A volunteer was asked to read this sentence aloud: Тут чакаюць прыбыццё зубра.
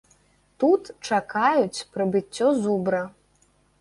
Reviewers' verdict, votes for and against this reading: accepted, 2, 1